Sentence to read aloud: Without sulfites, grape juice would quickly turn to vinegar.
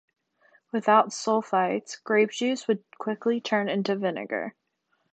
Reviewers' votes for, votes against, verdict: 2, 1, accepted